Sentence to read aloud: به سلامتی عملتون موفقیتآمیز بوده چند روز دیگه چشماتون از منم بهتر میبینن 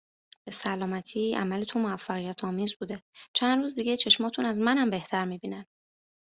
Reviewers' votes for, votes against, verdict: 2, 0, accepted